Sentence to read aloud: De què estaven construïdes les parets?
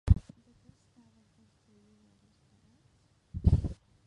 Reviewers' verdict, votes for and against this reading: rejected, 0, 3